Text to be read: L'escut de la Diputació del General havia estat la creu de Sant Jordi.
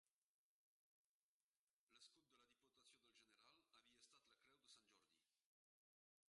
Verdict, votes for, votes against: rejected, 0, 2